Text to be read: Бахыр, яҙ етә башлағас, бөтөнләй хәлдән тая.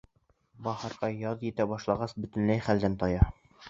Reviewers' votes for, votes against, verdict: 1, 3, rejected